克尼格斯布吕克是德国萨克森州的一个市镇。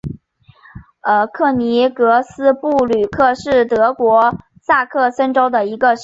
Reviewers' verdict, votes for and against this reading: rejected, 1, 2